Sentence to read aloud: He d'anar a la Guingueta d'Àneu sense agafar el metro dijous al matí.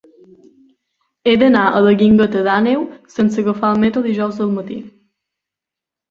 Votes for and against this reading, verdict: 4, 0, accepted